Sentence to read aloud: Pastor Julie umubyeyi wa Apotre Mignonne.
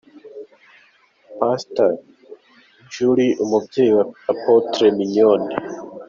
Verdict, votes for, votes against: accepted, 3, 1